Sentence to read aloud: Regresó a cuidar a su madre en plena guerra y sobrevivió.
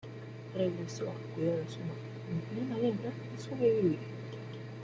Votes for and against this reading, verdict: 2, 1, accepted